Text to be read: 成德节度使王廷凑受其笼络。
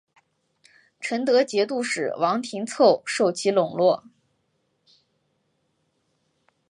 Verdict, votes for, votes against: accepted, 2, 0